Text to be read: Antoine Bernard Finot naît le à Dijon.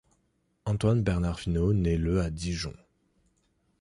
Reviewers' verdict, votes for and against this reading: accepted, 2, 0